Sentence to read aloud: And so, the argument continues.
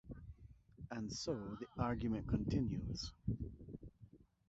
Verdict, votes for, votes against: accepted, 4, 0